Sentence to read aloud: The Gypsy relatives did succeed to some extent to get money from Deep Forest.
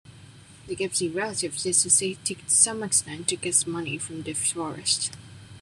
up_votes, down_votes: 0, 2